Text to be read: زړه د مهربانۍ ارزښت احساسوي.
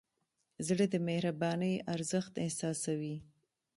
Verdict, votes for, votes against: rejected, 1, 2